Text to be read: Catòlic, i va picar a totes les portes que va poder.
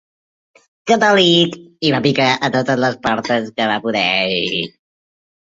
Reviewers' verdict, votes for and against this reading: rejected, 1, 2